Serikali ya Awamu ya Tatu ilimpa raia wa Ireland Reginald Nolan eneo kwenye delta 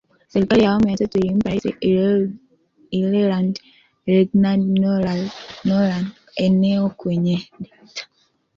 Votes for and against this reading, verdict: 0, 2, rejected